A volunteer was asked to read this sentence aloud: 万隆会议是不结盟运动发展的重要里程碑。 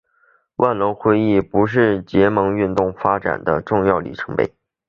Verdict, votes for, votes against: rejected, 1, 3